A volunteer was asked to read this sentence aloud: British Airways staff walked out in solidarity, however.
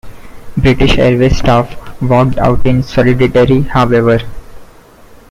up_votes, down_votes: 1, 2